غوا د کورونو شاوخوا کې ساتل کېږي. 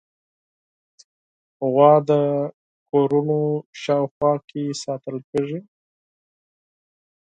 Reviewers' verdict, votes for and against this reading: accepted, 4, 0